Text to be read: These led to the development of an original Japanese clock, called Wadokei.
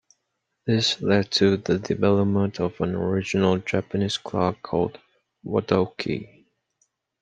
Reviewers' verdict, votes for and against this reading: accepted, 2, 0